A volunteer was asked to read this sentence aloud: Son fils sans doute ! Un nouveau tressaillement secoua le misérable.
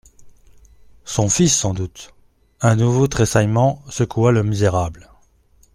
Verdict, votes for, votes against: accepted, 2, 0